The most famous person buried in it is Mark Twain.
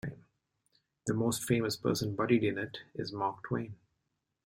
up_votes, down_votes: 2, 0